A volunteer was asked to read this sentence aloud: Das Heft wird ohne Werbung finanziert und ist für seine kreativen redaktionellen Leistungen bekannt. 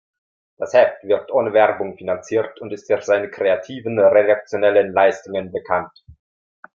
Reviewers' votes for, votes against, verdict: 2, 0, accepted